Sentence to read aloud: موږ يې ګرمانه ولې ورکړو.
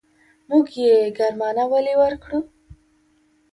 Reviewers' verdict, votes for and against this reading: accepted, 2, 0